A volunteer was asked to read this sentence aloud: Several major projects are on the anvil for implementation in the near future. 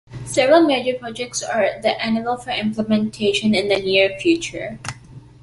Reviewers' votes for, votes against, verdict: 2, 1, accepted